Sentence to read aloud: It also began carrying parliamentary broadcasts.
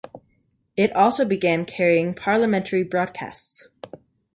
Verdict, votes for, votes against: accepted, 2, 0